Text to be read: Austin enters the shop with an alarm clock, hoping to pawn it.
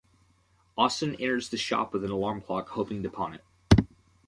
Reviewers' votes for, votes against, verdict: 0, 2, rejected